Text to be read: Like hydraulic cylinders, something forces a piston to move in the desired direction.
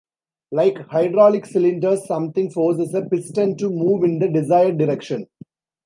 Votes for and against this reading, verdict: 3, 0, accepted